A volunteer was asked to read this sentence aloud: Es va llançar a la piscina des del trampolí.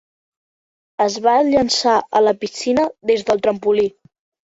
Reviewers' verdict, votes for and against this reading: accepted, 2, 0